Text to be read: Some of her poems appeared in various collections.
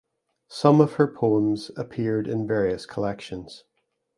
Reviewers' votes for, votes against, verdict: 2, 0, accepted